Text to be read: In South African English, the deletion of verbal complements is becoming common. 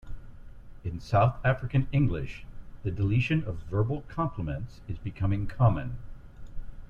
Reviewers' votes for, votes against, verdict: 2, 0, accepted